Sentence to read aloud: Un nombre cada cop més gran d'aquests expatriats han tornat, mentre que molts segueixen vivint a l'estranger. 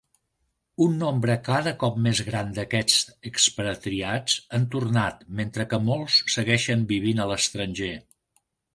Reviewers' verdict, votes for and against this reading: rejected, 0, 2